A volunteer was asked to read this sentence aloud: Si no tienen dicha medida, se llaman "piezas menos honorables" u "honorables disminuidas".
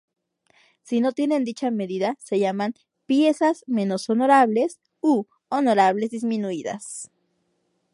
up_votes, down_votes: 2, 0